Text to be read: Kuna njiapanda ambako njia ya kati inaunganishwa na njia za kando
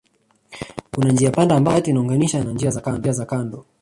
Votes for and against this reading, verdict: 0, 2, rejected